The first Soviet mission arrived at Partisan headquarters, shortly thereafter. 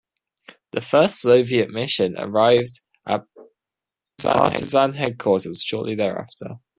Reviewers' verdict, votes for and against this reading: rejected, 0, 2